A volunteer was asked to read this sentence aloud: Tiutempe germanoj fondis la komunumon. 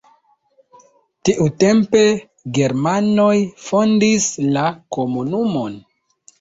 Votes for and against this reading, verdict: 2, 0, accepted